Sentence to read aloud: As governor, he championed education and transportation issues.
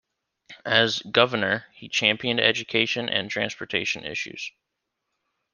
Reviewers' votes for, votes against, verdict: 2, 1, accepted